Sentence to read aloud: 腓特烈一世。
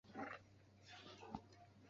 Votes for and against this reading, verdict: 0, 2, rejected